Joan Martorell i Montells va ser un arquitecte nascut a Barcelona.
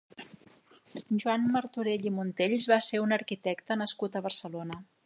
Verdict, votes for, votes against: accepted, 3, 0